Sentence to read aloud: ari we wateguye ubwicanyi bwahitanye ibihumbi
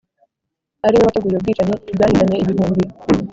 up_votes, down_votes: 1, 2